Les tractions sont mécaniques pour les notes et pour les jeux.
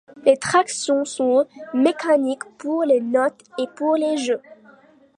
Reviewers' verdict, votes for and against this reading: accepted, 2, 0